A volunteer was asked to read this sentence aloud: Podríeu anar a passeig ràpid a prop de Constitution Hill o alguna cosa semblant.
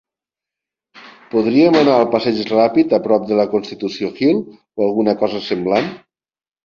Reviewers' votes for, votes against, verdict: 1, 2, rejected